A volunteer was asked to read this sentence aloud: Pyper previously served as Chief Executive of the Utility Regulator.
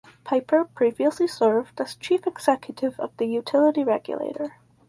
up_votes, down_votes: 4, 0